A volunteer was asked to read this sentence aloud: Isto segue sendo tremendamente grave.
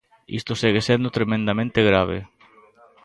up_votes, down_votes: 2, 0